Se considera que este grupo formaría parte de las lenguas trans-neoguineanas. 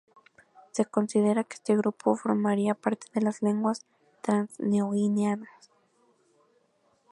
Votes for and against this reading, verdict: 2, 2, rejected